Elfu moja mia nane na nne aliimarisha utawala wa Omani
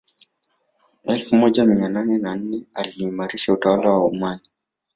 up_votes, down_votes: 0, 2